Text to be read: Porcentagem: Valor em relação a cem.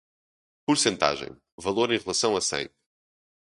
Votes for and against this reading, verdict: 0, 2, rejected